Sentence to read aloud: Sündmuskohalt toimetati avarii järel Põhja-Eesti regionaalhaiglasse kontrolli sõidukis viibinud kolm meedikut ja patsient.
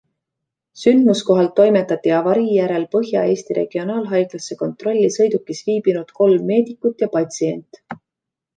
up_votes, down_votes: 2, 0